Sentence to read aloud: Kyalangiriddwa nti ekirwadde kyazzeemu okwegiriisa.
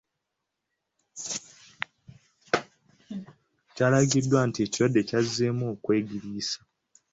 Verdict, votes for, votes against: rejected, 1, 2